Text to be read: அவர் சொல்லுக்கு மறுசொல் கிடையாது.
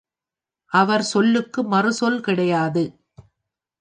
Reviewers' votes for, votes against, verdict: 2, 0, accepted